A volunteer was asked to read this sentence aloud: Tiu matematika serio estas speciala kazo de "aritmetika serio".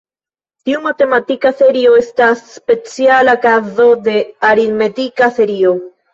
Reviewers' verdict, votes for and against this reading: accepted, 2, 0